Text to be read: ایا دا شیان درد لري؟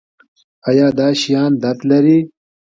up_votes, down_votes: 2, 0